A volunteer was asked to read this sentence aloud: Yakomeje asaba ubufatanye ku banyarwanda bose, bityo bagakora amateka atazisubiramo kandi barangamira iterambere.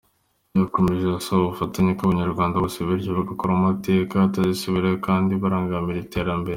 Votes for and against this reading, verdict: 3, 1, accepted